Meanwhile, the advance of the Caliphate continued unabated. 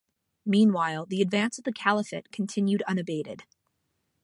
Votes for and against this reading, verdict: 2, 0, accepted